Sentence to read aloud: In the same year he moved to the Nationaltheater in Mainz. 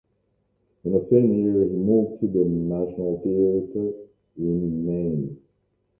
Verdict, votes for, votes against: rejected, 1, 2